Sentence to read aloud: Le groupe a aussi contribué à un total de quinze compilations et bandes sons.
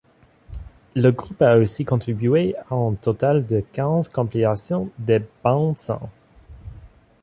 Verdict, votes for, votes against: rejected, 1, 2